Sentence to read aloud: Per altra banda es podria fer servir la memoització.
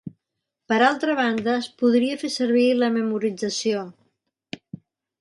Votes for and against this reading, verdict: 2, 4, rejected